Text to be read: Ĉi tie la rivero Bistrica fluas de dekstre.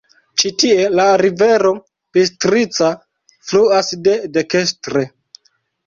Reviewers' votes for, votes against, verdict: 1, 2, rejected